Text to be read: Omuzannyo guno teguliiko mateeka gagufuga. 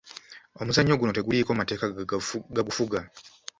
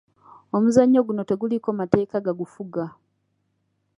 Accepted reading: second